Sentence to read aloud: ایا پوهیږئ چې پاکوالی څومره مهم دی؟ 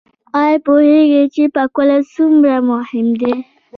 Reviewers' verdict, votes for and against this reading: accepted, 2, 0